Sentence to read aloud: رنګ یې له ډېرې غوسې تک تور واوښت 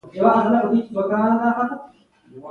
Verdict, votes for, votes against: accepted, 2, 0